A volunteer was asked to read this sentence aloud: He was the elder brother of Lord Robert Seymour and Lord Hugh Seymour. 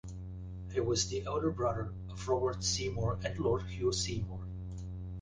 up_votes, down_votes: 1, 2